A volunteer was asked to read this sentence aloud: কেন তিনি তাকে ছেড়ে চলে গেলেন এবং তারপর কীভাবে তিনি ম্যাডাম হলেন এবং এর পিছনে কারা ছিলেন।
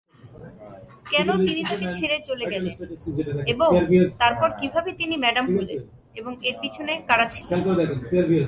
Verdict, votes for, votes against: accepted, 26, 9